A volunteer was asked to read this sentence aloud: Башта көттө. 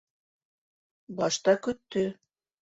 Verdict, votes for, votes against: accepted, 2, 0